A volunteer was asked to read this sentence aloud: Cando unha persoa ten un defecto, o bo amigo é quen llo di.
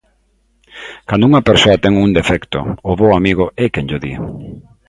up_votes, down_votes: 2, 0